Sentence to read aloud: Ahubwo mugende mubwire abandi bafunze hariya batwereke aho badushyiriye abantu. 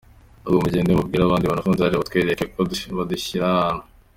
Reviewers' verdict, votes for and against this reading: rejected, 0, 2